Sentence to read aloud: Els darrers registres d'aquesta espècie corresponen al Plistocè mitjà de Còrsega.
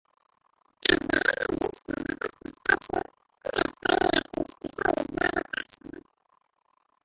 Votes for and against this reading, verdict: 0, 4, rejected